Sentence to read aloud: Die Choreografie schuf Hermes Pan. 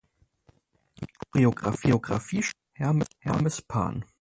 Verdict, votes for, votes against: rejected, 0, 4